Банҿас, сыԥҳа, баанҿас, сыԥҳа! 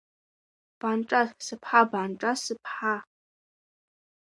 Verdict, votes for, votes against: rejected, 1, 2